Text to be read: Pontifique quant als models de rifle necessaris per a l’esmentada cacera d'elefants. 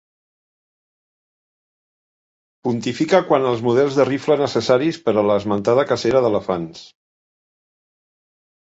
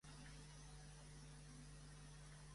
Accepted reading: first